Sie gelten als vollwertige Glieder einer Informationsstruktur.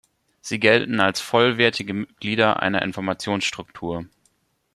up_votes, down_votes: 0, 2